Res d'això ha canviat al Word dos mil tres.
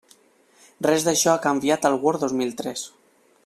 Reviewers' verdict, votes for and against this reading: accepted, 2, 0